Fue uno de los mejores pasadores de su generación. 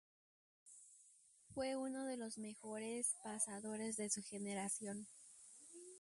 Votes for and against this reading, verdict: 0, 4, rejected